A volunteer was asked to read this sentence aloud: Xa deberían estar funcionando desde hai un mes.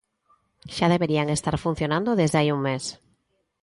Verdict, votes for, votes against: accepted, 3, 0